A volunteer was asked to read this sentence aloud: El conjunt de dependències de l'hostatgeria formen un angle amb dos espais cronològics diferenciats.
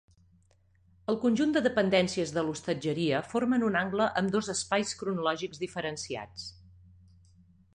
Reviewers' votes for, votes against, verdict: 2, 0, accepted